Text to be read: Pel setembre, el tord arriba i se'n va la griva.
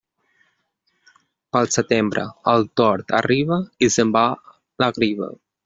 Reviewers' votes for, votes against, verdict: 1, 2, rejected